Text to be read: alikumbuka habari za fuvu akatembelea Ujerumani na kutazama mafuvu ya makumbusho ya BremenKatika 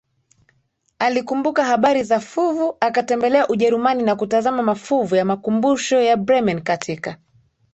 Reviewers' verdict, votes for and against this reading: accepted, 2, 0